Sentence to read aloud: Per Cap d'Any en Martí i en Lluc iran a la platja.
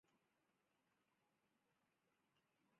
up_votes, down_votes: 0, 3